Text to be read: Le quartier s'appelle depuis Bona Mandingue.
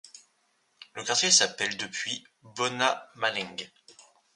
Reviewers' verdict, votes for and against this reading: rejected, 0, 2